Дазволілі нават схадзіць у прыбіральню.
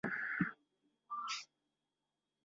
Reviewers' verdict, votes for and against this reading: rejected, 0, 2